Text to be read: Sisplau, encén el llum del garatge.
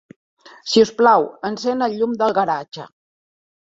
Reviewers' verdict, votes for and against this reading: accepted, 3, 1